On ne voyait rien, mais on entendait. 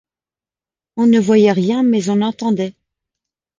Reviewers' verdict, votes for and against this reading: accepted, 2, 0